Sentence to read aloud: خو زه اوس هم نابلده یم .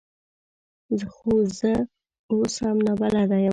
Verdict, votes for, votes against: rejected, 0, 2